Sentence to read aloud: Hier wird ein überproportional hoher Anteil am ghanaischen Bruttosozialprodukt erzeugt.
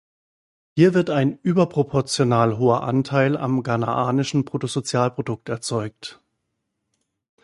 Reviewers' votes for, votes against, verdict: 1, 2, rejected